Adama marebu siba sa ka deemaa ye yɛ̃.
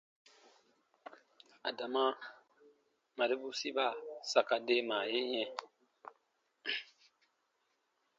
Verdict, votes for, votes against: accepted, 2, 0